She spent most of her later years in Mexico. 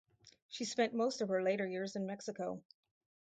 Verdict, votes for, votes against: accepted, 4, 2